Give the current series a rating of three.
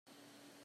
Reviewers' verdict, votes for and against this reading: rejected, 0, 2